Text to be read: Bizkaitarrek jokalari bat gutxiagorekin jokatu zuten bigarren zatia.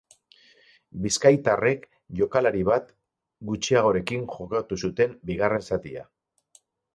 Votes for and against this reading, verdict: 6, 0, accepted